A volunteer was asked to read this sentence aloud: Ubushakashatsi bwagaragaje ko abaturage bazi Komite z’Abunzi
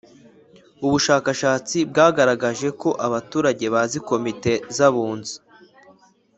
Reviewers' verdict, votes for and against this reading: accepted, 3, 0